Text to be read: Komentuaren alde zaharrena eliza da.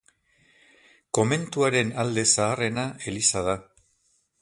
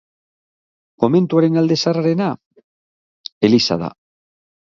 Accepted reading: second